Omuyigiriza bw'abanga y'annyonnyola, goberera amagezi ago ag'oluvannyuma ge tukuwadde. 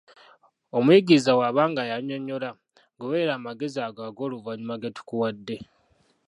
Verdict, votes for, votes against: rejected, 0, 2